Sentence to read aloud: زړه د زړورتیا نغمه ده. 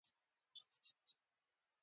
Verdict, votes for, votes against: rejected, 1, 2